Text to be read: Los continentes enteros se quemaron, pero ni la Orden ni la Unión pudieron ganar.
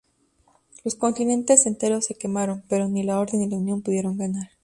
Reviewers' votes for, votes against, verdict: 2, 0, accepted